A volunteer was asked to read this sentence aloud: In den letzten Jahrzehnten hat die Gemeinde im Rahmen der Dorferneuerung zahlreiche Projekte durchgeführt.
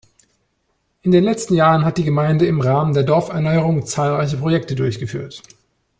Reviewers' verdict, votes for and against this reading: rejected, 0, 2